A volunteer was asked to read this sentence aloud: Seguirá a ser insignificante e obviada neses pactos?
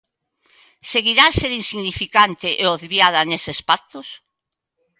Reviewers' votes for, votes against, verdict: 2, 0, accepted